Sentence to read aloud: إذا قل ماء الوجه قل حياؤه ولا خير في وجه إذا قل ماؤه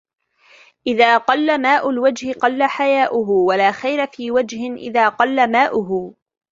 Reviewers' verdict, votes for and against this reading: accepted, 2, 0